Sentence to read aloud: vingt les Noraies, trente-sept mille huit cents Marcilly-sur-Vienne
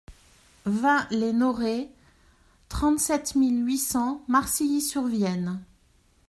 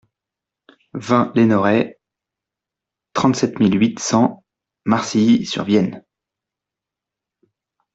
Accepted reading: first